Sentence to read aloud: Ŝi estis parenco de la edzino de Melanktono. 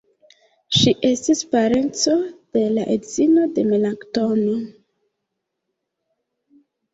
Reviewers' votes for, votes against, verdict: 0, 2, rejected